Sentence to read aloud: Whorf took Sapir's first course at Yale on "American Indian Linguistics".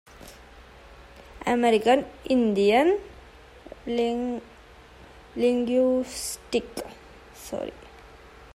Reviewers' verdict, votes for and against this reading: rejected, 0, 2